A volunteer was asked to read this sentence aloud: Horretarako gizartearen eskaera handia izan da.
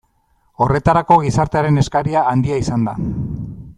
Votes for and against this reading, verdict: 1, 2, rejected